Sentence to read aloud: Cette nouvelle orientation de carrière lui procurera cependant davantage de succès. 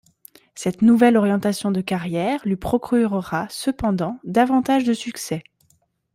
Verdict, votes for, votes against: accepted, 2, 0